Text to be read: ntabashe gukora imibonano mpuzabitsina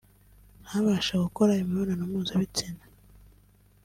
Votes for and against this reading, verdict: 2, 0, accepted